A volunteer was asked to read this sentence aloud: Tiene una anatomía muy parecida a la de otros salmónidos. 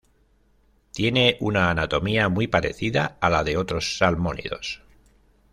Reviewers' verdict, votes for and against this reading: accepted, 2, 0